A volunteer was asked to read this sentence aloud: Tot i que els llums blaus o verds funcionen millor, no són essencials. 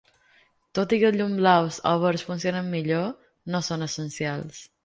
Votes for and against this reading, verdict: 2, 3, rejected